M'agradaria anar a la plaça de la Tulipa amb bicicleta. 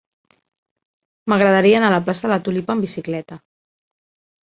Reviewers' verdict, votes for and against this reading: rejected, 0, 2